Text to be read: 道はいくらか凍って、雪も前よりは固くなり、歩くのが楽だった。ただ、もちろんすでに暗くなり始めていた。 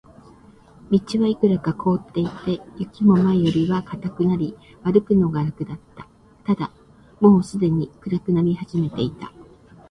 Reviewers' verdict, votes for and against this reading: rejected, 0, 2